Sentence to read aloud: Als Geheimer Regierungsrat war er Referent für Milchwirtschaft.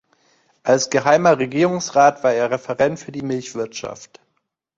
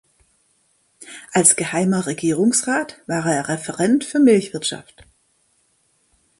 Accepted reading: second